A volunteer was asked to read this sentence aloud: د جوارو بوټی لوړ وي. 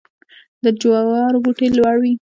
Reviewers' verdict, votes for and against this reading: rejected, 1, 2